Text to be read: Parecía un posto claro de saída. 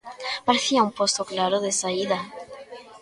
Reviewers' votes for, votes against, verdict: 0, 2, rejected